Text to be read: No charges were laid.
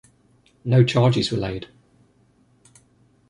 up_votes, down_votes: 2, 0